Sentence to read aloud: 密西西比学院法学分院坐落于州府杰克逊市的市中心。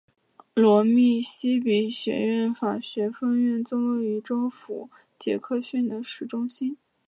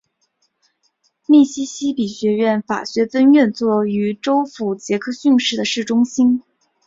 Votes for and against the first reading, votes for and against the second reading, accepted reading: 0, 2, 4, 0, second